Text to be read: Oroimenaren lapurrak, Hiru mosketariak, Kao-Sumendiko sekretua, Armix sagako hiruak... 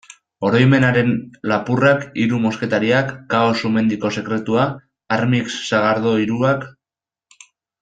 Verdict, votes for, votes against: rejected, 1, 2